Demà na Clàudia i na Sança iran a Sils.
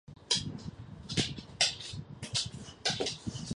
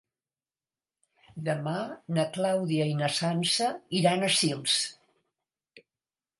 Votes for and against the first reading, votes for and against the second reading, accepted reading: 0, 2, 3, 0, second